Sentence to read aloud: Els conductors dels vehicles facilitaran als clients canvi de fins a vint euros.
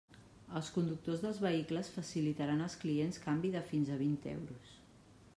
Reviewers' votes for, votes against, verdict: 2, 0, accepted